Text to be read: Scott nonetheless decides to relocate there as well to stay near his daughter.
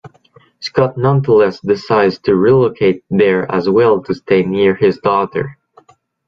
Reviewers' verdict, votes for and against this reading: rejected, 1, 2